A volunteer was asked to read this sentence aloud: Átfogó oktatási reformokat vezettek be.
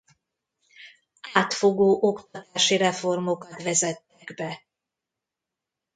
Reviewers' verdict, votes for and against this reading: rejected, 0, 2